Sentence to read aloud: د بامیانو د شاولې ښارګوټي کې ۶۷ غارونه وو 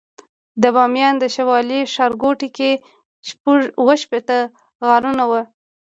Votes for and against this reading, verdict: 0, 2, rejected